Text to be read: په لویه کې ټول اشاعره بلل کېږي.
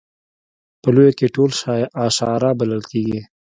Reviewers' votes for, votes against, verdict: 1, 2, rejected